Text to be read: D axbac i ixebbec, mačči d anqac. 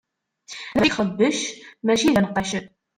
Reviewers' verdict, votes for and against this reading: rejected, 0, 2